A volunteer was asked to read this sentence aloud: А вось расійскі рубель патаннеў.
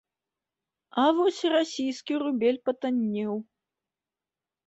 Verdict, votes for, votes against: accepted, 2, 0